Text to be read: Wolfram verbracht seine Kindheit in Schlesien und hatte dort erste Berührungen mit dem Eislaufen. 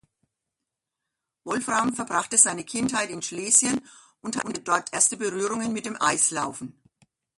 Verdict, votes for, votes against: rejected, 0, 2